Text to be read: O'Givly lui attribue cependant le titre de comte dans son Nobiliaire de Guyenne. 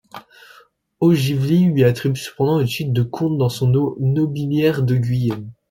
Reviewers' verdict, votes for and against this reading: rejected, 0, 2